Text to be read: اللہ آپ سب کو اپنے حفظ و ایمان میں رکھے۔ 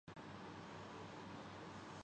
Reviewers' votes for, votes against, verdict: 0, 2, rejected